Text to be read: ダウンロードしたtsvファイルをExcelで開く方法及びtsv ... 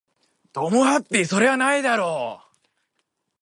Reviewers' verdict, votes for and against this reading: rejected, 0, 4